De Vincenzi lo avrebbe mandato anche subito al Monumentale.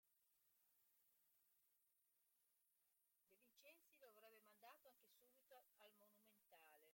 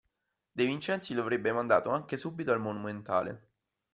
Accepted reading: second